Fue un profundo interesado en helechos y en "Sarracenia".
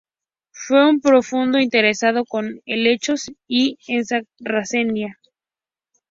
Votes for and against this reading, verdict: 2, 0, accepted